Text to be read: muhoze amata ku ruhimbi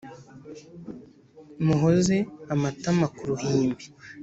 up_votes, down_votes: 1, 2